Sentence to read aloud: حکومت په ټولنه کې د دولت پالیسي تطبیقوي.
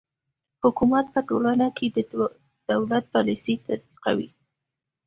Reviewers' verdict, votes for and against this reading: accepted, 2, 0